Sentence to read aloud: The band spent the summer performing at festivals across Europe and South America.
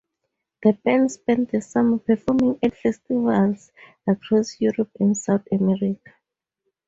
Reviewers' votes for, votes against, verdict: 2, 0, accepted